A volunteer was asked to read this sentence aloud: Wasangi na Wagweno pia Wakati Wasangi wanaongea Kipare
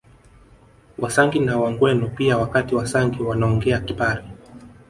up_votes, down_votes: 2, 0